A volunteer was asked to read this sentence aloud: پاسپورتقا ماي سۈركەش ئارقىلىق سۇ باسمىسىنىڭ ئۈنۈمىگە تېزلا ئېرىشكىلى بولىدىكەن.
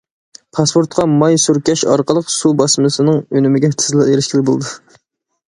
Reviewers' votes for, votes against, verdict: 0, 2, rejected